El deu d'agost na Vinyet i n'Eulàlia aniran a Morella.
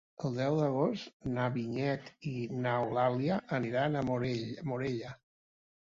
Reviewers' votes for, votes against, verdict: 1, 3, rejected